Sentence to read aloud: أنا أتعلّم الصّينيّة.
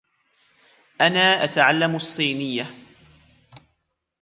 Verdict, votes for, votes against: accepted, 2, 1